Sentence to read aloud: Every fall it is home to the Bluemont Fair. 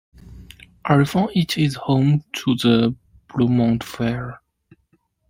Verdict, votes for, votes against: rejected, 1, 2